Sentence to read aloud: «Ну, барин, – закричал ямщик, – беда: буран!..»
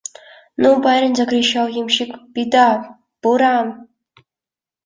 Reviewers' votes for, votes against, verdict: 2, 0, accepted